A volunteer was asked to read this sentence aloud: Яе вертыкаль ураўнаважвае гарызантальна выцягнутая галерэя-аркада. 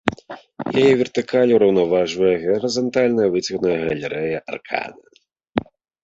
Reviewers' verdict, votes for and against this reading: rejected, 1, 2